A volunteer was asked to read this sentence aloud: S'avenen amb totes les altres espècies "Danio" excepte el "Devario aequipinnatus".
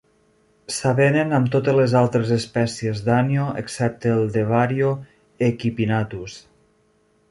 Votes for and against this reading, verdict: 1, 2, rejected